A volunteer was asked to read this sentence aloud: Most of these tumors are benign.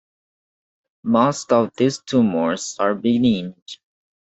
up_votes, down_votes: 0, 2